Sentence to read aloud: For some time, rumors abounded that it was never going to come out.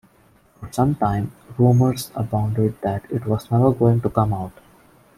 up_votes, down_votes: 1, 3